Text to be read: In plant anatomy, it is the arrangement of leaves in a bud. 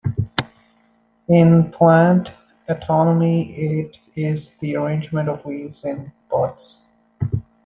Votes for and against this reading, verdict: 0, 2, rejected